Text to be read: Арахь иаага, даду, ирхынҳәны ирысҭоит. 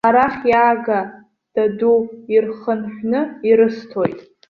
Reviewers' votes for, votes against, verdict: 2, 0, accepted